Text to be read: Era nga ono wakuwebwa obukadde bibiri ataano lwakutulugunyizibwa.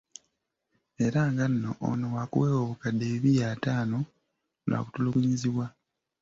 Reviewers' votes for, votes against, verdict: 0, 2, rejected